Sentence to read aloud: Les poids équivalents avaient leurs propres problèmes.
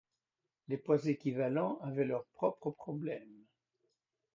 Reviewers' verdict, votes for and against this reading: accepted, 2, 0